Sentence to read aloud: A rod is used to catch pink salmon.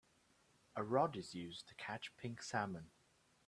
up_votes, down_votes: 2, 0